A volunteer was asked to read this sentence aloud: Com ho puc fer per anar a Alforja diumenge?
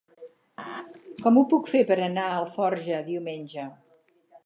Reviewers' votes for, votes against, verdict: 6, 0, accepted